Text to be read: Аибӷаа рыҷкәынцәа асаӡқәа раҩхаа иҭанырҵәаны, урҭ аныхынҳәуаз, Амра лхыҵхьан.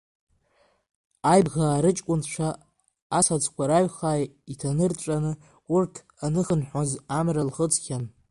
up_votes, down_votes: 0, 2